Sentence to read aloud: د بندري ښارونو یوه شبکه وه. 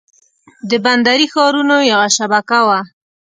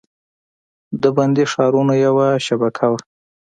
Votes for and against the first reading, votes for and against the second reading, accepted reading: 2, 0, 1, 2, first